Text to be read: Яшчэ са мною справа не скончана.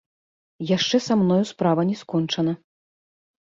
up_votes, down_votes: 1, 2